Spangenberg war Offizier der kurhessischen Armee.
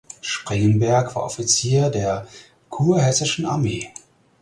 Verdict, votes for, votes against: rejected, 0, 4